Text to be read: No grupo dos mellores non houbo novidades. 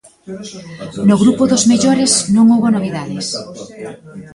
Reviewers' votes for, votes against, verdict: 0, 2, rejected